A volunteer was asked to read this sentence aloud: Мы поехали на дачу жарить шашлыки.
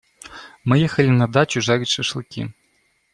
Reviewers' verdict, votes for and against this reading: rejected, 1, 2